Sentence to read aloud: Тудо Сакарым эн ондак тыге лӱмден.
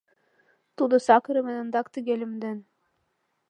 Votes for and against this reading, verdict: 1, 2, rejected